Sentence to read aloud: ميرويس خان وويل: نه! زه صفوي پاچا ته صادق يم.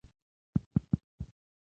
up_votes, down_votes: 1, 2